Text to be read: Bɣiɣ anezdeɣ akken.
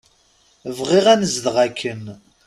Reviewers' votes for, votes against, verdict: 2, 0, accepted